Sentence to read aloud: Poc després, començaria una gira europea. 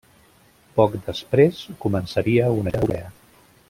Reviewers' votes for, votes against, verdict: 0, 2, rejected